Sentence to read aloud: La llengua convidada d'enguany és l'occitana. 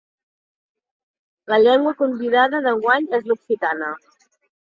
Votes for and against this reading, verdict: 3, 0, accepted